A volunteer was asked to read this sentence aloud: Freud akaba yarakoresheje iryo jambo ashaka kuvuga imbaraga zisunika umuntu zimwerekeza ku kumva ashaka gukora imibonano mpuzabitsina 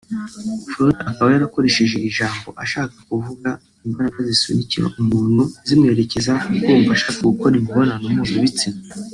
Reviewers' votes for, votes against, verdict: 1, 2, rejected